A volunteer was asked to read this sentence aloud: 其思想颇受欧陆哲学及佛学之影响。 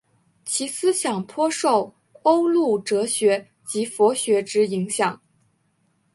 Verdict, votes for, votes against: accepted, 3, 1